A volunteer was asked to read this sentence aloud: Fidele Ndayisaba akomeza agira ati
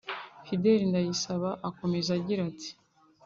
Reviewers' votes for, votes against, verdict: 2, 0, accepted